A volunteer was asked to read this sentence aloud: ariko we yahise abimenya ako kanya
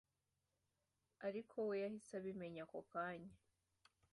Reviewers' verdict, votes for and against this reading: accepted, 2, 0